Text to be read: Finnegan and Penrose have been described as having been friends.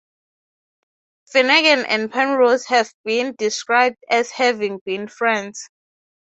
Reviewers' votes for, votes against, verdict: 6, 0, accepted